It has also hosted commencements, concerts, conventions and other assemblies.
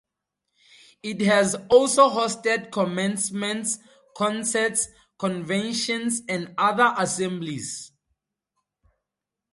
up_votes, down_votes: 2, 0